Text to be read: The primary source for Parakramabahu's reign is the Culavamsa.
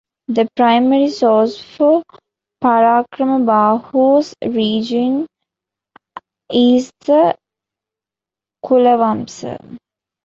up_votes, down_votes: 1, 2